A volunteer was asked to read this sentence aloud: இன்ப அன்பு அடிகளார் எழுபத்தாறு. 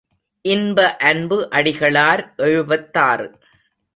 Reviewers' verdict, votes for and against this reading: accepted, 2, 0